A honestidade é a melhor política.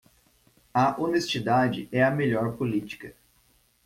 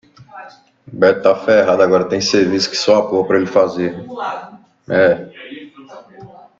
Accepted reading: first